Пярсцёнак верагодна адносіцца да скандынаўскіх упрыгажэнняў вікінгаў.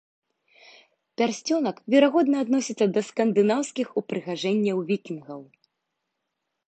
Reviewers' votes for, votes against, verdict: 2, 0, accepted